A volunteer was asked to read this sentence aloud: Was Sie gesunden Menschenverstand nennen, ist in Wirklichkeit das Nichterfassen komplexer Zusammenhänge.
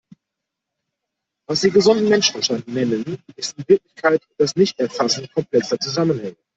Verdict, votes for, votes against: rejected, 0, 2